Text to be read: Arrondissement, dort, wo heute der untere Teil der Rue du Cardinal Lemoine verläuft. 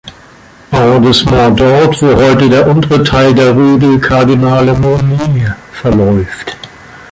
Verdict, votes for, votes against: rejected, 1, 2